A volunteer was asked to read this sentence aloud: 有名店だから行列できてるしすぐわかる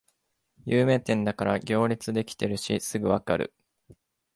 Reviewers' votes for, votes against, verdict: 2, 0, accepted